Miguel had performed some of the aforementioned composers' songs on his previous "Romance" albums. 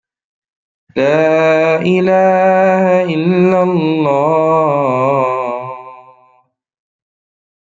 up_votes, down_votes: 0, 2